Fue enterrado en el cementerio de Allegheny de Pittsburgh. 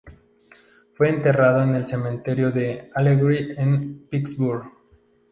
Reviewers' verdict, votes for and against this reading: rejected, 0, 2